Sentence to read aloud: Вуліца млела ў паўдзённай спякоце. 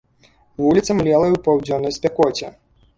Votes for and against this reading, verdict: 1, 2, rejected